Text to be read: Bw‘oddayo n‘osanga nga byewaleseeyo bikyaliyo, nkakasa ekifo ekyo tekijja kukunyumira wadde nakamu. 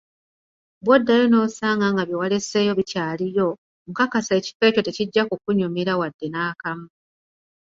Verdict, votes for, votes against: accepted, 2, 0